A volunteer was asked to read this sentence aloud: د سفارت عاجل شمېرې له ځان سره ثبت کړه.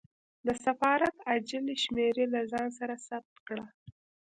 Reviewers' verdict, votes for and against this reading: rejected, 1, 2